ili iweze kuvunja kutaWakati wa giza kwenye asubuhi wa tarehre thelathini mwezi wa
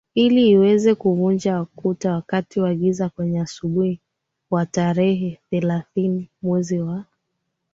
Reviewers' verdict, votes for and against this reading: accepted, 7, 5